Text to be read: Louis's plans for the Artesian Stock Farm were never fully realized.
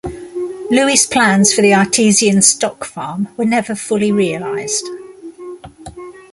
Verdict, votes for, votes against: rejected, 1, 2